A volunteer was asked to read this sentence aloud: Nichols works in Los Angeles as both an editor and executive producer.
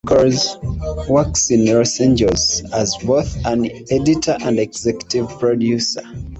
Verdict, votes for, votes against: rejected, 0, 2